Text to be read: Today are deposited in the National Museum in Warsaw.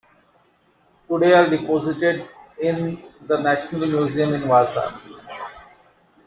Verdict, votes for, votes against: rejected, 0, 2